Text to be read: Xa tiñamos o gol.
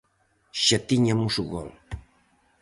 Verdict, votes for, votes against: rejected, 0, 4